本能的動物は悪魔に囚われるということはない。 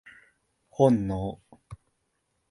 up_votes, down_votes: 0, 2